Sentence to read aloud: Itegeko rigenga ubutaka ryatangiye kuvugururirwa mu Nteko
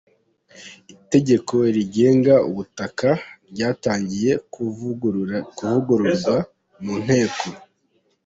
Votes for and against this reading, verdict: 1, 2, rejected